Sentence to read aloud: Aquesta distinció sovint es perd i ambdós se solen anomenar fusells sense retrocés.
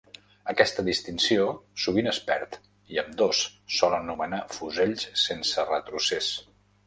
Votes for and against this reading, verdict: 0, 2, rejected